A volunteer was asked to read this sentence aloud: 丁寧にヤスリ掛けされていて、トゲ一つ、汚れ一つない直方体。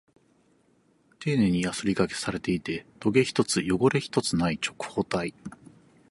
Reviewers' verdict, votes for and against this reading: accepted, 4, 0